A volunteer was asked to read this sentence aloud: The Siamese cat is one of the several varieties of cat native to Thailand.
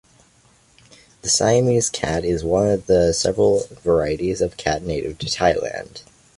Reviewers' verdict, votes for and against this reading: accepted, 2, 0